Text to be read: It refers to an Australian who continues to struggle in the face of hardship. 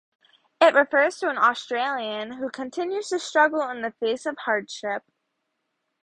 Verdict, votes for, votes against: accepted, 2, 0